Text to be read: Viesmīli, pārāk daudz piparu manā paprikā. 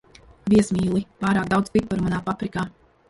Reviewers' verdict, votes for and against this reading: rejected, 0, 2